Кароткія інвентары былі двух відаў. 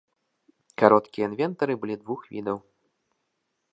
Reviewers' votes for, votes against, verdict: 2, 0, accepted